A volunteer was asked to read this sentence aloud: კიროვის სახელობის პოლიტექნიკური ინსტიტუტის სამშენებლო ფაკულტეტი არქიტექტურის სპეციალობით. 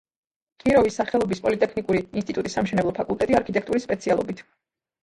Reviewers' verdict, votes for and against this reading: rejected, 1, 2